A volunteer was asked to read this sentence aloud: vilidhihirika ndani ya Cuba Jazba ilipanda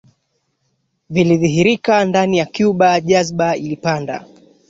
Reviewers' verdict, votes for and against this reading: rejected, 1, 2